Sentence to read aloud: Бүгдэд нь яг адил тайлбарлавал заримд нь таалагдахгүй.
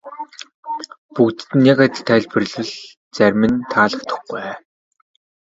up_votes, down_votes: 1, 2